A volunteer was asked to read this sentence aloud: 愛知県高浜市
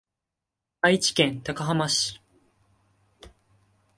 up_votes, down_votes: 2, 0